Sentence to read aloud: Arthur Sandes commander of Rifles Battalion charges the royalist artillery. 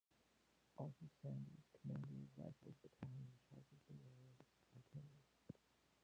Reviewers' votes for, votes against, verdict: 0, 2, rejected